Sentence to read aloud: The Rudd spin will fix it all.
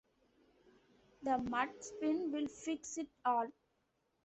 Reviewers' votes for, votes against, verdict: 2, 0, accepted